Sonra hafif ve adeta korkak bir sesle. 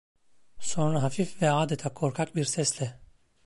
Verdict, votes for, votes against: rejected, 1, 2